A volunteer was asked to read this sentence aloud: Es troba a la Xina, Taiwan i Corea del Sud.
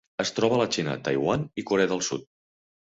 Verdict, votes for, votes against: accepted, 4, 0